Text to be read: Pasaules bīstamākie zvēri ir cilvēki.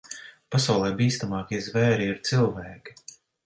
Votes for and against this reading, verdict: 1, 2, rejected